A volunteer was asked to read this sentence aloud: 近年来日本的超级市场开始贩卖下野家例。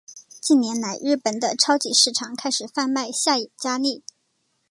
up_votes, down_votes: 3, 1